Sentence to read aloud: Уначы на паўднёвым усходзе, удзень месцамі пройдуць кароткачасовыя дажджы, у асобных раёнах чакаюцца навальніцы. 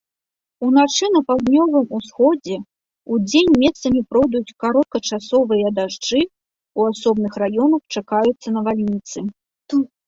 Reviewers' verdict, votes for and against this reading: accepted, 2, 1